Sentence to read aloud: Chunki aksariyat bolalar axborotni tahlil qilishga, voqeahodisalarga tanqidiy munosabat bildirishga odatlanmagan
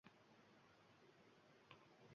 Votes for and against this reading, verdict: 0, 2, rejected